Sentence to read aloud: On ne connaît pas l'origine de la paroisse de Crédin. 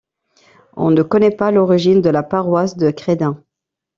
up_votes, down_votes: 2, 0